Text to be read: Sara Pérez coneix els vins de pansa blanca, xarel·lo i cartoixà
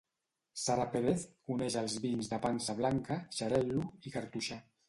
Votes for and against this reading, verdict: 2, 0, accepted